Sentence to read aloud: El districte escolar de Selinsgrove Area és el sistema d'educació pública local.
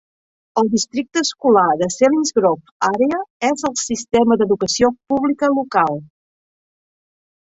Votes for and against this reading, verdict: 2, 0, accepted